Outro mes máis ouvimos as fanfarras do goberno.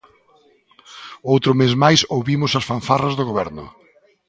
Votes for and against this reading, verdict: 3, 0, accepted